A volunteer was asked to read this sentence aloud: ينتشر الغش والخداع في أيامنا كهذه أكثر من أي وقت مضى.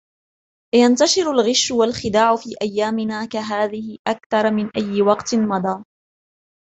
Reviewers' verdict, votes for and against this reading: accepted, 2, 0